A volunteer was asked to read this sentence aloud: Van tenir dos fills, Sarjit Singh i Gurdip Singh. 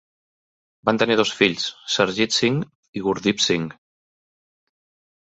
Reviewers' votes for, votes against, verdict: 2, 0, accepted